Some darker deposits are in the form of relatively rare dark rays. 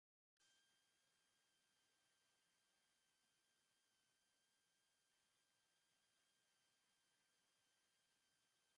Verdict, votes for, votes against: rejected, 0, 2